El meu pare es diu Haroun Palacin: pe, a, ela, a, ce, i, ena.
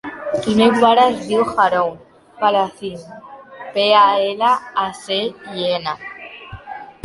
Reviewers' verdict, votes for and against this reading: accepted, 2, 0